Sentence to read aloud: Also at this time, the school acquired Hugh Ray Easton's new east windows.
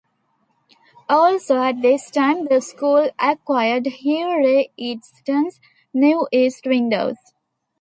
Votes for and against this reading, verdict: 1, 2, rejected